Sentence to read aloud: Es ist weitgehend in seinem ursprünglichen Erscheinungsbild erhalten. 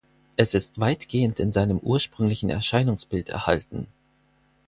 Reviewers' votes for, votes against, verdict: 4, 0, accepted